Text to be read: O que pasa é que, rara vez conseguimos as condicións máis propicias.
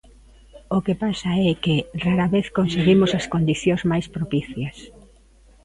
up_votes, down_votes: 2, 0